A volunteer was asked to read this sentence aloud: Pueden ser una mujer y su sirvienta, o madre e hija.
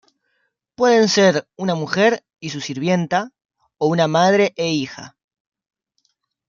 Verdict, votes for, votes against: rejected, 0, 2